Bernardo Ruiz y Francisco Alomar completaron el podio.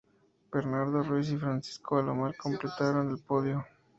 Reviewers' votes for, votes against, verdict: 0, 2, rejected